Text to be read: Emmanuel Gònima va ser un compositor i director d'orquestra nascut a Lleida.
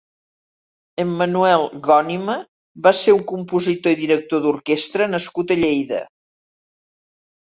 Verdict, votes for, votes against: accepted, 6, 0